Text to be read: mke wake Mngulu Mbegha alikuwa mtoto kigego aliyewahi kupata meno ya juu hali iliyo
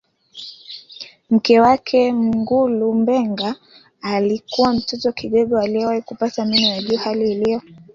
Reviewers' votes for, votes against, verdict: 0, 2, rejected